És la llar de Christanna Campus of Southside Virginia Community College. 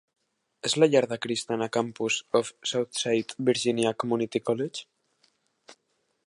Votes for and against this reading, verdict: 0, 2, rejected